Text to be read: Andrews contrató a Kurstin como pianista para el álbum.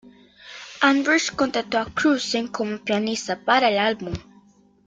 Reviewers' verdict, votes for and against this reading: accepted, 2, 0